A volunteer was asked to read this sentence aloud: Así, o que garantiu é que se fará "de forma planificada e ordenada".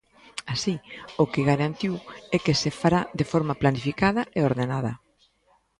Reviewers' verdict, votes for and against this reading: rejected, 1, 2